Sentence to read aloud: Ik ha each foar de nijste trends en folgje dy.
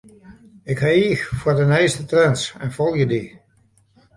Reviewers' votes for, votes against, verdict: 2, 0, accepted